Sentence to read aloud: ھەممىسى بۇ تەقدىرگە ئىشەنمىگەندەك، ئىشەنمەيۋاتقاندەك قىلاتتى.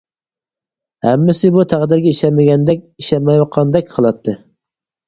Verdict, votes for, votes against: rejected, 0, 4